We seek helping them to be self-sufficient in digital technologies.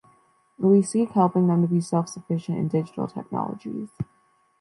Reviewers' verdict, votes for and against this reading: rejected, 1, 2